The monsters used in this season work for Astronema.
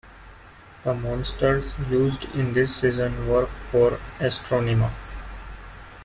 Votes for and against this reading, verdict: 2, 1, accepted